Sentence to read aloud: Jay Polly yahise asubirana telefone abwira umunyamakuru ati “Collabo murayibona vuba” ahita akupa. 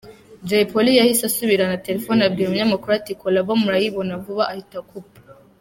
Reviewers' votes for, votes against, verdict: 2, 1, accepted